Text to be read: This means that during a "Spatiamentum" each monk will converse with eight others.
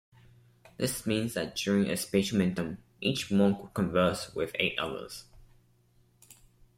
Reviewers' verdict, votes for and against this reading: accepted, 2, 0